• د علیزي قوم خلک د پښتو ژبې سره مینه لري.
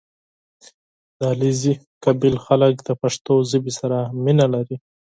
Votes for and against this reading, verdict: 6, 2, accepted